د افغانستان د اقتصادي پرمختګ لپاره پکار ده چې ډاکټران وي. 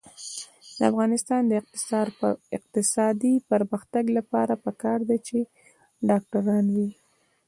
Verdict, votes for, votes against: accepted, 2, 0